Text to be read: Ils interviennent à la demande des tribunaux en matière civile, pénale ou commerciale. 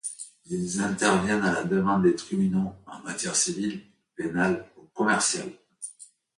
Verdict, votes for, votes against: accepted, 2, 0